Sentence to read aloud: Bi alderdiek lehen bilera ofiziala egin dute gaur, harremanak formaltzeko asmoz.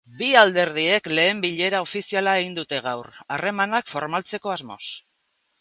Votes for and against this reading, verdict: 2, 0, accepted